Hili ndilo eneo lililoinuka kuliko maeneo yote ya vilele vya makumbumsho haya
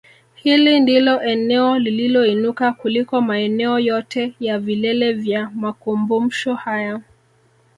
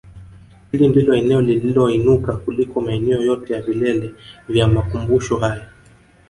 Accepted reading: first